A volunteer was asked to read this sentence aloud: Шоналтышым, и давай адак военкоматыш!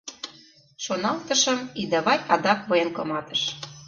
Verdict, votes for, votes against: accepted, 2, 0